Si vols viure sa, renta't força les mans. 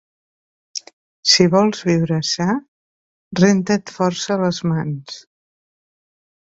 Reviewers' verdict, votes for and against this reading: accepted, 2, 0